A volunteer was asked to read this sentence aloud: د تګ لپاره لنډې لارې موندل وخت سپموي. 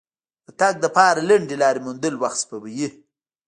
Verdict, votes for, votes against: rejected, 1, 2